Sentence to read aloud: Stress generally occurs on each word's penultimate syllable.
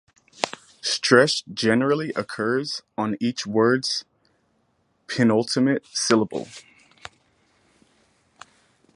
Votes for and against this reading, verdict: 4, 0, accepted